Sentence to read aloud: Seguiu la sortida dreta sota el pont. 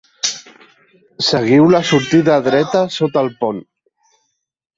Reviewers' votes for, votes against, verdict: 1, 2, rejected